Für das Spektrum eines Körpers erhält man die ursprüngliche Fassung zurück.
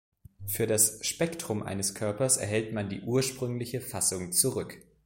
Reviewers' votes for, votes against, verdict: 2, 0, accepted